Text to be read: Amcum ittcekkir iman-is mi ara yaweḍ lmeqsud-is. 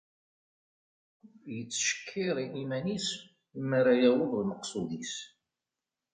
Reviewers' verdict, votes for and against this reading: rejected, 0, 2